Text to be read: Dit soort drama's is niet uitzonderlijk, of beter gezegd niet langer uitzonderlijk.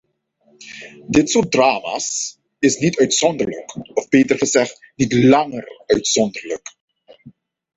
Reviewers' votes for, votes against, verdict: 2, 0, accepted